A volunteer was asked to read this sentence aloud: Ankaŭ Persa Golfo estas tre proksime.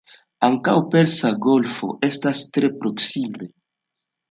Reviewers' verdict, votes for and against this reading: accepted, 2, 0